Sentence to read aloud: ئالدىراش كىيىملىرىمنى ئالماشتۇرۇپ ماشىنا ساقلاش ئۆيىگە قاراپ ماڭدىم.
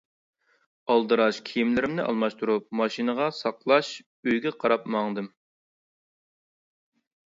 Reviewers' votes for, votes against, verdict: 1, 2, rejected